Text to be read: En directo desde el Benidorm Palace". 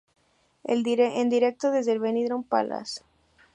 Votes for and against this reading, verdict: 1, 2, rejected